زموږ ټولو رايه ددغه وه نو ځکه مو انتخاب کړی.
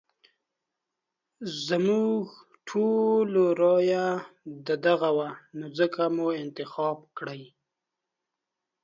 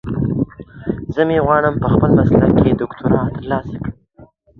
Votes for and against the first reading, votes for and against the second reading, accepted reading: 2, 0, 0, 2, first